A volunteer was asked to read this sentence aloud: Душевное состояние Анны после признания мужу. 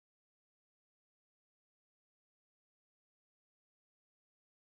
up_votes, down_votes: 0, 14